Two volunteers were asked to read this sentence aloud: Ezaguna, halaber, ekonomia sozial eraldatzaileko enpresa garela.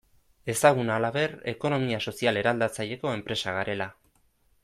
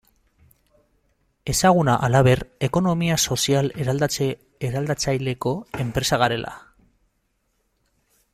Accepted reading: first